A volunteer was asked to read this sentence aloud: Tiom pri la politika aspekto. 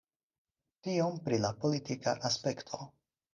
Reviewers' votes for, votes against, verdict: 4, 0, accepted